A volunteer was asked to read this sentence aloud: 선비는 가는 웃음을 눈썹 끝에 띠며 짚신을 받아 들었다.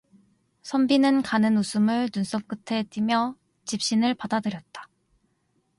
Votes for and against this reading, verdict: 2, 0, accepted